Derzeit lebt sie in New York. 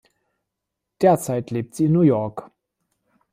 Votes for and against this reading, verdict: 2, 0, accepted